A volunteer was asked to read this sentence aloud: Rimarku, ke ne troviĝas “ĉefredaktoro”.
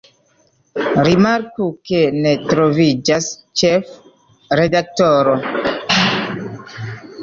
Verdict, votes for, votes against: rejected, 1, 2